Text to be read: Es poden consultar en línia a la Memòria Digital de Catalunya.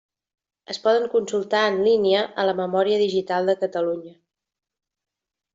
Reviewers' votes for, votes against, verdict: 3, 0, accepted